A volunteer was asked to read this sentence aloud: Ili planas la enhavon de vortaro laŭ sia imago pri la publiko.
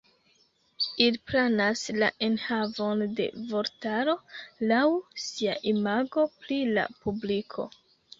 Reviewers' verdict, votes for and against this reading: rejected, 0, 2